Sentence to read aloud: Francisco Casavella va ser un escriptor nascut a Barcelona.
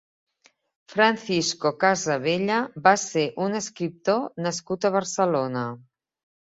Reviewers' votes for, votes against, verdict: 2, 0, accepted